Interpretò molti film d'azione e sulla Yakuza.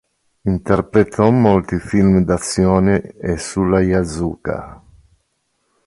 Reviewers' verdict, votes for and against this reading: rejected, 1, 2